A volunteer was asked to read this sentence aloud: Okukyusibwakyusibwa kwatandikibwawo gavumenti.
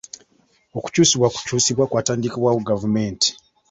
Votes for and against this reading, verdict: 1, 2, rejected